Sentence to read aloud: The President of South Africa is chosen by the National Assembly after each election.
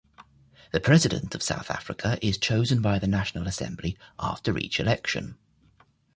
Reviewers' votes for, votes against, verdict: 2, 0, accepted